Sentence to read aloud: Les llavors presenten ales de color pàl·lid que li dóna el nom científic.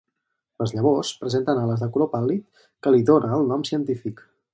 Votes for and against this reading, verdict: 4, 0, accepted